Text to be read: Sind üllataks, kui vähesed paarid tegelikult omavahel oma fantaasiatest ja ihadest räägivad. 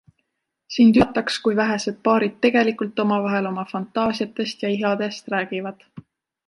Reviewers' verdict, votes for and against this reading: accepted, 2, 1